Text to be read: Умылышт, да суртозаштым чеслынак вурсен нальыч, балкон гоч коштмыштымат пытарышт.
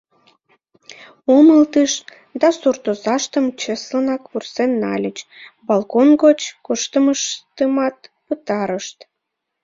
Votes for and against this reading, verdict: 1, 2, rejected